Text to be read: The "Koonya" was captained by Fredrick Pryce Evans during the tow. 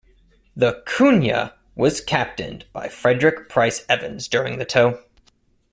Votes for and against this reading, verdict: 2, 0, accepted